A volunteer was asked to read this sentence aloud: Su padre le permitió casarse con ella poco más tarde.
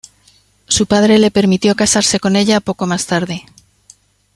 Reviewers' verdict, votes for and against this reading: accepted, 2, 0